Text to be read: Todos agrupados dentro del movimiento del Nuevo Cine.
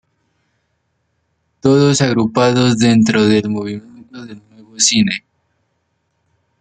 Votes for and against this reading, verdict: 0, 2, rejected